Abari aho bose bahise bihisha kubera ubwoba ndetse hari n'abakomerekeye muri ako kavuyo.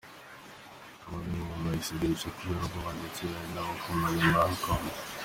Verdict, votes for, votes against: rejected, 0, 2